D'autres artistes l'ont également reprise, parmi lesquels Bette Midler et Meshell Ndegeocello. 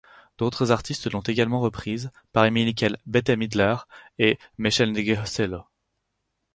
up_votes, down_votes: 2, 4